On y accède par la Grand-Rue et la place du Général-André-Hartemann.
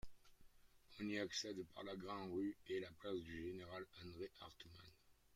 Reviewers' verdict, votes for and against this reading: rejected, 1, 2